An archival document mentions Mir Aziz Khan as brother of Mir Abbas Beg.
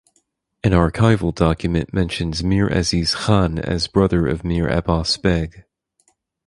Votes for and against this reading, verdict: 4, 2, accepted